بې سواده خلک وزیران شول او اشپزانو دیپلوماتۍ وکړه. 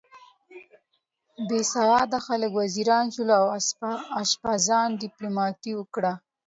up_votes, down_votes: 0, 2